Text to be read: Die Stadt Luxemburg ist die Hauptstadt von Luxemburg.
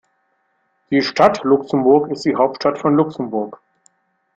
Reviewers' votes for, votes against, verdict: 2, 0, accepted